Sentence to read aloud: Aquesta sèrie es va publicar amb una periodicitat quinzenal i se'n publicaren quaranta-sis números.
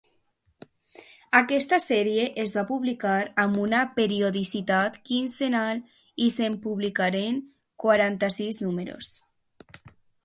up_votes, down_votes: 2, 0